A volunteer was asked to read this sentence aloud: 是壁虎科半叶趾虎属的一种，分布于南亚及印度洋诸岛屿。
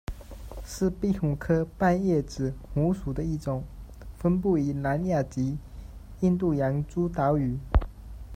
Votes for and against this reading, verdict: 0, 2, rejected